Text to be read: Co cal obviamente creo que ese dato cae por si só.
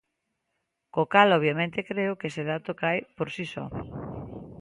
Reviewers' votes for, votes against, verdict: 2, 0, accepted